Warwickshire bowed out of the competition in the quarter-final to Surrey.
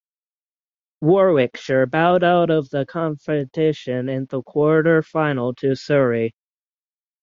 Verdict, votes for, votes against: rejected, 3, 3